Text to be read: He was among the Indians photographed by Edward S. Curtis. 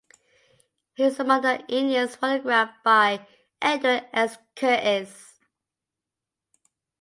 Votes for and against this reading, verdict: 2, 0, accepted